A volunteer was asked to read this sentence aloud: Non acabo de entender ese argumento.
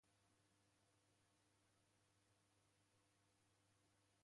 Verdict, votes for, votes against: rejected, 0, 2